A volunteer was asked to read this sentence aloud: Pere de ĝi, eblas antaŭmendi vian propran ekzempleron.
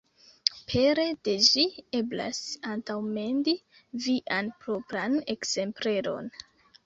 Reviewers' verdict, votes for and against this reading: accepted, 2, 1